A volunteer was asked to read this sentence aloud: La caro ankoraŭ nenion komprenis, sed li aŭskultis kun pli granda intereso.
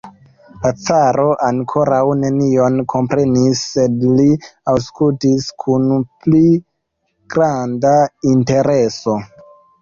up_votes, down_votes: 0, 2